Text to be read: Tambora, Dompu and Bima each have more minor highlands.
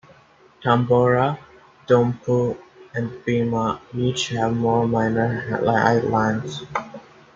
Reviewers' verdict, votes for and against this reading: rejected, 1, 2